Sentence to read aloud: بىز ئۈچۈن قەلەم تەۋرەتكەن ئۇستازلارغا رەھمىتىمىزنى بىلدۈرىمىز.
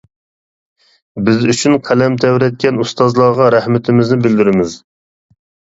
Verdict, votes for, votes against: accepted, 2, 0